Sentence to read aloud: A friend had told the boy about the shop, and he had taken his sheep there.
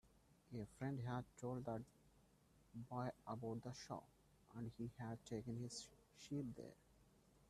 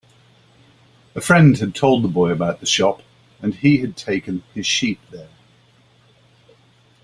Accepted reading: second